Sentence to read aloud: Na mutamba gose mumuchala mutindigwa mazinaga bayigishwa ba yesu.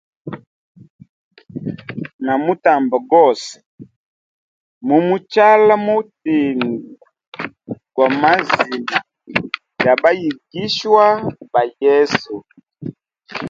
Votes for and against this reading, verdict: 2, 0, accepted